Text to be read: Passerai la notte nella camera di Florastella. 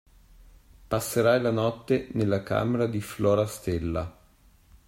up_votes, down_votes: 2, 0